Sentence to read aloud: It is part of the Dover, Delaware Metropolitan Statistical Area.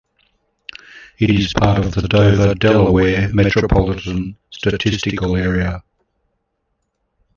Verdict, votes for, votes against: rejected, 1, 2